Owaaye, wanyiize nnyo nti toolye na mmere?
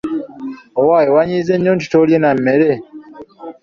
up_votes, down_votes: 1, 2